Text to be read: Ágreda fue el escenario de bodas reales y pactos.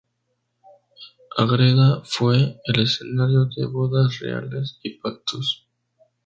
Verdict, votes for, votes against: rejected, 0, 2